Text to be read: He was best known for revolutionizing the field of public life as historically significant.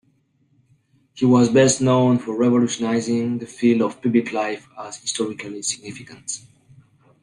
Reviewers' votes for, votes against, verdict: 2, 1, accepted